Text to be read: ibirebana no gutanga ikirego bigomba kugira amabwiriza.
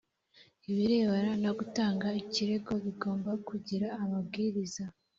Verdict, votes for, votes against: accepted, 2, 0